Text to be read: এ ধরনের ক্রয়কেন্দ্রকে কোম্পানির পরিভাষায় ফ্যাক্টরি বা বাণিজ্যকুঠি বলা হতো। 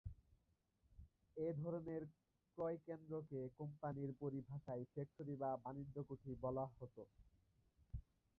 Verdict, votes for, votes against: rejected, 1, 2